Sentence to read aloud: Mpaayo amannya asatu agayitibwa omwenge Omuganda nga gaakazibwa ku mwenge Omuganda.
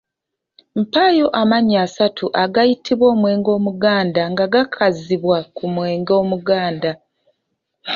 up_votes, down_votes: 1, 2